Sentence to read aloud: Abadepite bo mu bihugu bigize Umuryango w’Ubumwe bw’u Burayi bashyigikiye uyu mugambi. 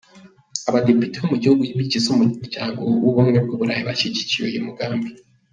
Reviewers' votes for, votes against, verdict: 1, 2, rejected